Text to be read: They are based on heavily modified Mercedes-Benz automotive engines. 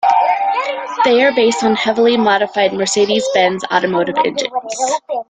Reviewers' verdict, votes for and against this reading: rejected, 1, 2